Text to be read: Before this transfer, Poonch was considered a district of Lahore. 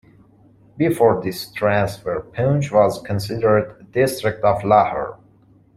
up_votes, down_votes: 2, 0